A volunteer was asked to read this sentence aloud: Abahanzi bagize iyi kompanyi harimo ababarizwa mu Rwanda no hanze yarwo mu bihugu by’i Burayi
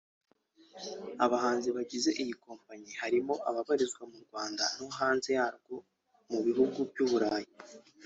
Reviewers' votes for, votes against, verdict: 2, 0, accepted